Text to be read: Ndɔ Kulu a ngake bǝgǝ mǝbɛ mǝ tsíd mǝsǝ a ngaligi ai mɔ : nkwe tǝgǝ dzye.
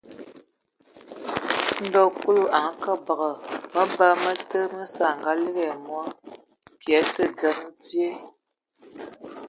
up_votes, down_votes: 1, 2